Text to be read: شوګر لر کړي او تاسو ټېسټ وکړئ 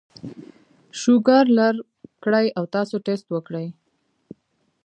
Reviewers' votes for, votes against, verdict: 2, 1, accepted